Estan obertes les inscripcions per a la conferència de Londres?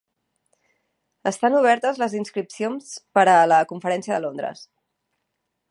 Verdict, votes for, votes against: rejected, 1, 2